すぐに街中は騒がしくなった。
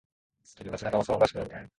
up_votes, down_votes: 0, 2